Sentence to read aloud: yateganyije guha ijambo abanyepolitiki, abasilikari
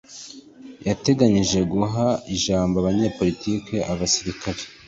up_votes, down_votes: 2, 1